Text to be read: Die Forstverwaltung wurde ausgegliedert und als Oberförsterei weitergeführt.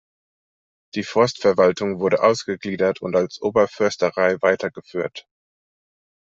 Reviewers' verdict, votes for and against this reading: accepted, 2, 0